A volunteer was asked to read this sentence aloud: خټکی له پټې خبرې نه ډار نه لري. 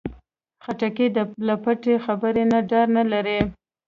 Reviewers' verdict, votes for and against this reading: rejected, 1, 2